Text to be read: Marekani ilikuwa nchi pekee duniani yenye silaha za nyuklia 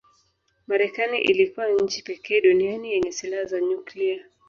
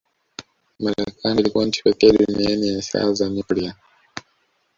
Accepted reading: first